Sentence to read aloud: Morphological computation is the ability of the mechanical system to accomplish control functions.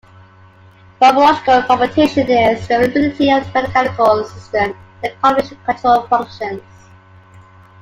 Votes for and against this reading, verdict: 0, 2, rejected